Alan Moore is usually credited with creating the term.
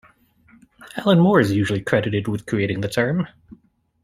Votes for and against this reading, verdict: 2, 0, accepted